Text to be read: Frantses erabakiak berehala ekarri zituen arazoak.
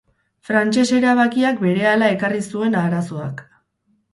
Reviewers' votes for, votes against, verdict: 0, 2, rejected